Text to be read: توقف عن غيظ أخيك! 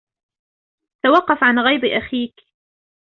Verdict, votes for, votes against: accepted, 2, 1